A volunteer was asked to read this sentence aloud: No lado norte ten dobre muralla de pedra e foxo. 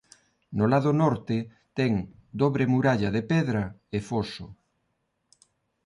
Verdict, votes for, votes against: accepted, 2, 0